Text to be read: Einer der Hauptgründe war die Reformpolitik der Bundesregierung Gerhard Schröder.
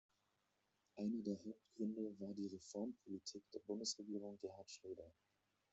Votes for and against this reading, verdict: 1, 2, rejected